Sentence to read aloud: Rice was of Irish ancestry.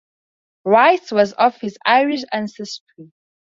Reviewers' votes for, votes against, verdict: 0, 4, rejected